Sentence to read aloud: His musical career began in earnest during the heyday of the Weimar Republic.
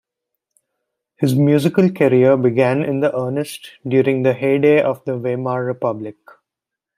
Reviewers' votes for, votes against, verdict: 0, 2, rejected